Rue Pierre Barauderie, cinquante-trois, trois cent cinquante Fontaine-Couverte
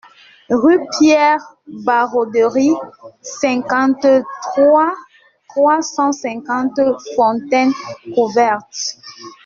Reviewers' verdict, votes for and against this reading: accepted, 2, 0